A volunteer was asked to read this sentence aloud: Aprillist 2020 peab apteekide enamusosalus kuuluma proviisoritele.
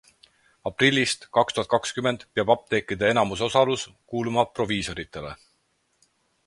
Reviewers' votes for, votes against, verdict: 0, 2, rejected